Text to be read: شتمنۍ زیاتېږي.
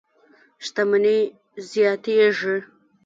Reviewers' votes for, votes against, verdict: 0, 2, rejected